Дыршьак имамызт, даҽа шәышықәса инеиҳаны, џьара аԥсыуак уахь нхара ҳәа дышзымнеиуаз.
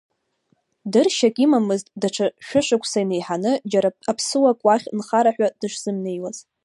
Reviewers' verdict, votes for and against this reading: rejected, 0, 2